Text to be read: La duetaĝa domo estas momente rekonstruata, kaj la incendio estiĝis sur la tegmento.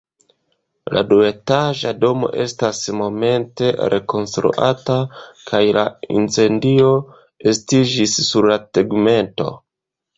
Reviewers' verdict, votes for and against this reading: accepted, 2, 0